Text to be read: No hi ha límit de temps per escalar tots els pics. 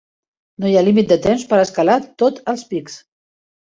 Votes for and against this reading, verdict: 0, 2, rejected